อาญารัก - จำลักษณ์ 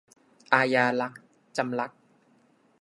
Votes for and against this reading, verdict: 2, 0, accepted